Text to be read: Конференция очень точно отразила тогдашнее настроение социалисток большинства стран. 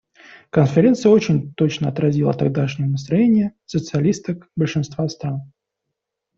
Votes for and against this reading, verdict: 2, 0, accepted